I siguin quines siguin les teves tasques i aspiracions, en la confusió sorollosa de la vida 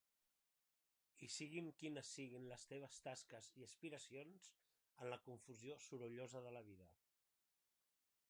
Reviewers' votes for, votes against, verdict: 1, 2, rejected